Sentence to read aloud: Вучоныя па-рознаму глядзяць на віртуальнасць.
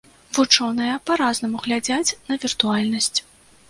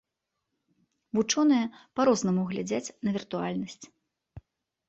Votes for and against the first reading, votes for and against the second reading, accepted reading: 1, 2, 2, 0, second